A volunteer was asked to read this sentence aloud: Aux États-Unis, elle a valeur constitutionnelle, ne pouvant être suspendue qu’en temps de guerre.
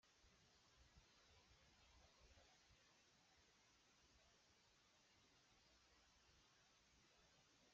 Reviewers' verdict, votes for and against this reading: rejected, 0, 2